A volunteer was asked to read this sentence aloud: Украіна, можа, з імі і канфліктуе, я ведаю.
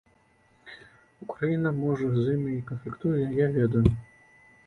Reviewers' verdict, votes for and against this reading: accepted, 2, 1